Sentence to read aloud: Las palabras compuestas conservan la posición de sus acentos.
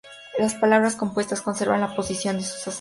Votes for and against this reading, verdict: 0, 2, rejected